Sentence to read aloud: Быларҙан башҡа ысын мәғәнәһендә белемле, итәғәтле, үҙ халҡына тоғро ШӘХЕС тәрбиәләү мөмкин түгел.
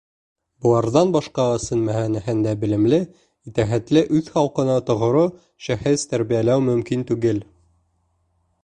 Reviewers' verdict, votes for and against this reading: rejected, 0, 2